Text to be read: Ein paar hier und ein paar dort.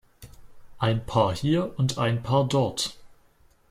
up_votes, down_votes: 2, 0